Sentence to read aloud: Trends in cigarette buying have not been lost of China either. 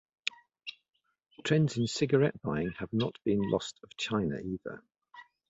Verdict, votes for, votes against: rejected, 1, 2